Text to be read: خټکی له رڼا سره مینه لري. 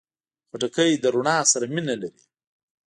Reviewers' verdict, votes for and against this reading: accepted, 2, 0